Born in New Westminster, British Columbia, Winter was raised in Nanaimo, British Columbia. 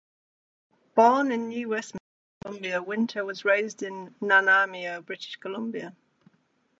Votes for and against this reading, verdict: 0, 2, rejected